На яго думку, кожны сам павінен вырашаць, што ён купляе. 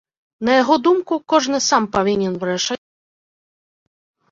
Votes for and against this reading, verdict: 0, 3, rejected